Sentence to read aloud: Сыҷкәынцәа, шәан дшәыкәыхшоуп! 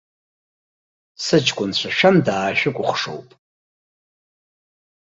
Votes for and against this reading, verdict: 0, 2, rejected